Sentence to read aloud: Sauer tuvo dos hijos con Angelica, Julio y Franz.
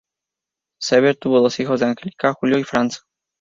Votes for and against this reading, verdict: 2, 0, accepted